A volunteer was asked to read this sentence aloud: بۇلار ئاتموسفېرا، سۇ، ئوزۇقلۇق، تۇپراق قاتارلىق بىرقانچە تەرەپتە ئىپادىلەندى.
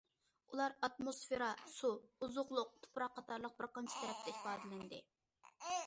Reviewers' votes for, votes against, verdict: 2, 1, accepted